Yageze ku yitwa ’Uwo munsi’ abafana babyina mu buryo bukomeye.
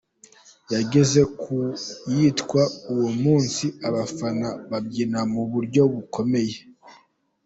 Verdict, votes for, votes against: accepted, 2, 1